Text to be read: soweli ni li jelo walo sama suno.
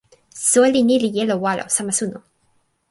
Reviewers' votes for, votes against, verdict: 2, 0, accepted